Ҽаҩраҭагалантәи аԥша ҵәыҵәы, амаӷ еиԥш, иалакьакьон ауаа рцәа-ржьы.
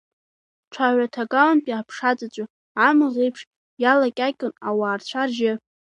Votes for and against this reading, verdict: 3, 0, accepted